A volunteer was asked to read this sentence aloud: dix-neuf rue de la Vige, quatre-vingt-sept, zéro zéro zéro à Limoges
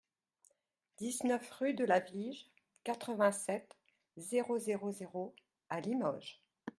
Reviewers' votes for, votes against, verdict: 2, 0, accepted